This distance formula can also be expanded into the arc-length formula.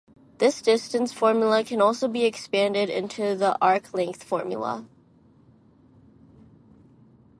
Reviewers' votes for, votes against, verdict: 2, 0, accepted